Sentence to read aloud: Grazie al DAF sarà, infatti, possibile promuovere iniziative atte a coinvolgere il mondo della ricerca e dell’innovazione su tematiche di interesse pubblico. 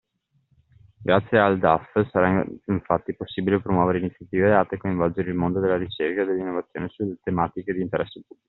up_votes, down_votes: 0, 2